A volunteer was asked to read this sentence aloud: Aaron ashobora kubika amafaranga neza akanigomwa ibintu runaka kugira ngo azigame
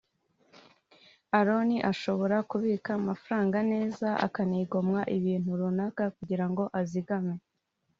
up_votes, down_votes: 2, 0